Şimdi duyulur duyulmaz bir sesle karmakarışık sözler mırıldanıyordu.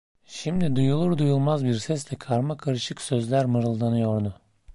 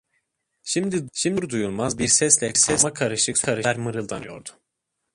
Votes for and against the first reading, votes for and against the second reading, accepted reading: 2, 0, 0, 2, first